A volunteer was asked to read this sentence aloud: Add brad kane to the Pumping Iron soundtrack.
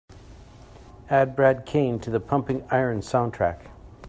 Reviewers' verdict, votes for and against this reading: accepted, 2, 0